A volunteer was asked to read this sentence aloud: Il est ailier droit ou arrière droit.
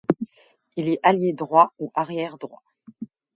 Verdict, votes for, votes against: accepted, 2, 0